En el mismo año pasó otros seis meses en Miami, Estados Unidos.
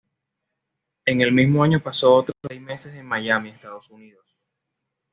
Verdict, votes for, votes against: accepted, 2, 0